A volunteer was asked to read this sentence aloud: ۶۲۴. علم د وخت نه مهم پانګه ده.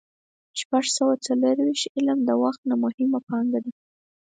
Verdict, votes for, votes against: rejected, 0, 2